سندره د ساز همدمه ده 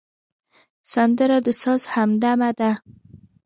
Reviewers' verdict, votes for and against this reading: accepted, 2, 1